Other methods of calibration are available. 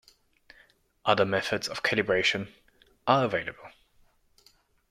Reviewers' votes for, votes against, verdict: 2, 0, accepted